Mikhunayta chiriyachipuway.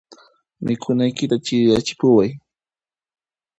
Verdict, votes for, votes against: rejected, 1, 2